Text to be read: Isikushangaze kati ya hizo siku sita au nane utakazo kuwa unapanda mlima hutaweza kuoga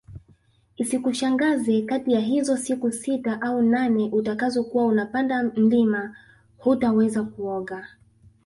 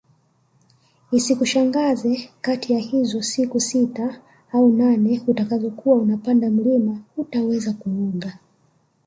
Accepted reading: second